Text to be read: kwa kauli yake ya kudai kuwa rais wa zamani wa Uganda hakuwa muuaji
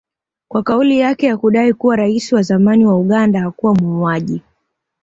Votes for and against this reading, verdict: 2, 0, accepted